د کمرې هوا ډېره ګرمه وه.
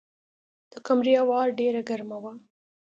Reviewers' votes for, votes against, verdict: 2, 0, accepted